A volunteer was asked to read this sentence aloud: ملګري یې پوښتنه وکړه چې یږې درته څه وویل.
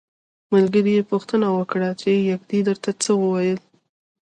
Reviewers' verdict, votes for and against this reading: accepted, 2, 0